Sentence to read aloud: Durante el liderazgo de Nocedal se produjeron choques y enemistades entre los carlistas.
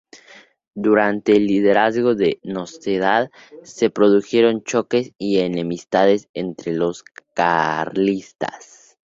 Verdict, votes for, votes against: accepted, 4, 0